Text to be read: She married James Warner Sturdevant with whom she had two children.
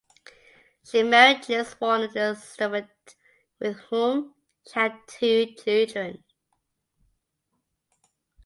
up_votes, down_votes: 2, 1